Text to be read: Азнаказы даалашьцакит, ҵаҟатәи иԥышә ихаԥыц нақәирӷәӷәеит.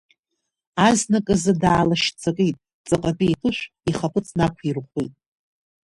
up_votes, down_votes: 0, 2